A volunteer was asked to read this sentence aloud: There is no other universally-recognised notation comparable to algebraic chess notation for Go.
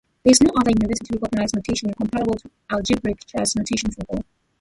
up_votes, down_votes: 0, 2